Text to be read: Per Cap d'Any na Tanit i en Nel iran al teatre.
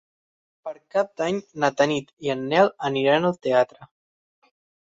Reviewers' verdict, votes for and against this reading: rejected, 0, 6